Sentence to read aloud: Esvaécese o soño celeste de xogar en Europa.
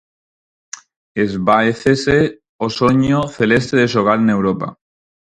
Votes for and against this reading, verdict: 4, 0, accepted